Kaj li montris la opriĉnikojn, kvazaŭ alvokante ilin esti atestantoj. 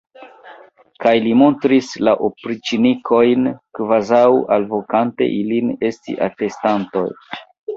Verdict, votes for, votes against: rejected, 1, 2